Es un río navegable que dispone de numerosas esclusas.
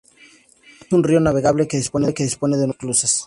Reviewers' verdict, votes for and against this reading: rejected, 0, 2